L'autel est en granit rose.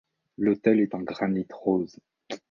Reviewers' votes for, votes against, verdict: 2, 0, accepted